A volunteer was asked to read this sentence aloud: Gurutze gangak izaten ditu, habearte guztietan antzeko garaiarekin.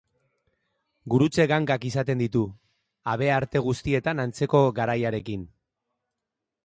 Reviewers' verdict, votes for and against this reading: accepted, 2, 0